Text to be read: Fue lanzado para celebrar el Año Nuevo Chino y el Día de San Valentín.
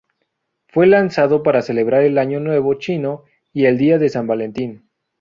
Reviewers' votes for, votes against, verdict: 2, 0, accepted